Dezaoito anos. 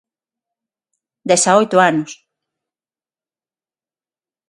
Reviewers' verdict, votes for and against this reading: accepted, 6, 0